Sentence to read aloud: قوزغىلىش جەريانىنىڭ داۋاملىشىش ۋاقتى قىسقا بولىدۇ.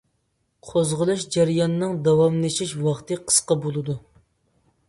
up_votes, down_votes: 3, 0